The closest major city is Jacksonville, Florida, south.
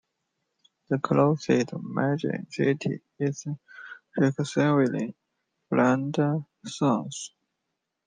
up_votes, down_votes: 1, 2